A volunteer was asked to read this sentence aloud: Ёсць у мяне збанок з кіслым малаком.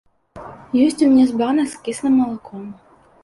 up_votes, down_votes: 0, 2